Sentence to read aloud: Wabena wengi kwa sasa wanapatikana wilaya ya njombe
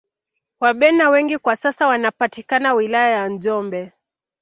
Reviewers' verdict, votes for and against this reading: accepted, 3, 0